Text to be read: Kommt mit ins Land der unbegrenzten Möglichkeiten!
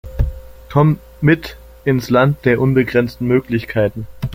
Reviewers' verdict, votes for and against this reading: accepted, 2, 1